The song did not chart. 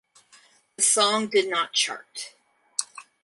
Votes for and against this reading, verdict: 0, 4, rejected